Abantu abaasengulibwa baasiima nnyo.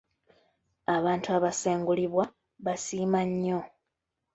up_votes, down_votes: 0, 2